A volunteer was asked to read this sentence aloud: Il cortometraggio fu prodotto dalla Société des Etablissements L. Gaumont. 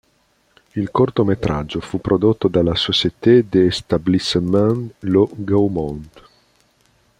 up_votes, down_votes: 2, 3